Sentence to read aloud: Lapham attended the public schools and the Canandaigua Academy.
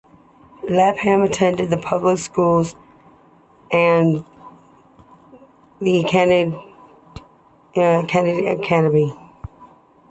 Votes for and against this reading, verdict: 2, 0, accepted